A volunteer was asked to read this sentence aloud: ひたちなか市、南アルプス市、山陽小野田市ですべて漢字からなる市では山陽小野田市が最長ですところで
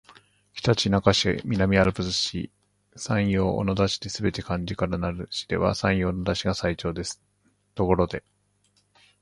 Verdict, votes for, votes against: rejected, 1, 2